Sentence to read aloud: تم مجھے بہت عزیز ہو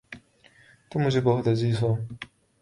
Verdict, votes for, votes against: accepted, 2, 0